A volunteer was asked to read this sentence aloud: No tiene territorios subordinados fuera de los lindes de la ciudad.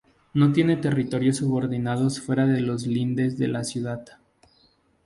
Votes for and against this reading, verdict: 4, 0, accepted